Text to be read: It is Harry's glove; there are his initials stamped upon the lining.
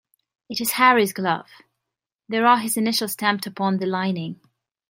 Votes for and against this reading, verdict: 2, 0, accepted